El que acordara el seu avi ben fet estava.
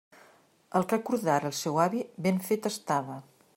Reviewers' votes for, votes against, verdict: 2, 0, accepted